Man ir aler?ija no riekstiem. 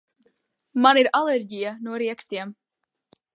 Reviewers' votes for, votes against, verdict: 0, 2, rejected